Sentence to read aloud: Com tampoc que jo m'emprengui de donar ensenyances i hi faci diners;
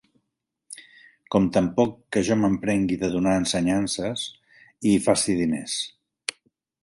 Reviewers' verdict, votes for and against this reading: accepted, 2, 0